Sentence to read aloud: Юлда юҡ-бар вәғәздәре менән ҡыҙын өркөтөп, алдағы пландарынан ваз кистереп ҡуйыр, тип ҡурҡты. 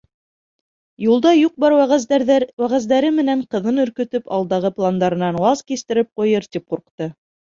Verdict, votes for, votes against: rejected, 0, 2